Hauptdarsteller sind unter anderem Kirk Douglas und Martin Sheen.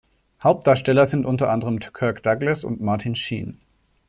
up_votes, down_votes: 0, 2